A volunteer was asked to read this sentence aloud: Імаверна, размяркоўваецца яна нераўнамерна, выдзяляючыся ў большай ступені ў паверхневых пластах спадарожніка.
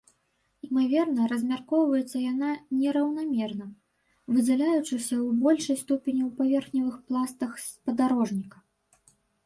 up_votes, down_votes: 1, 2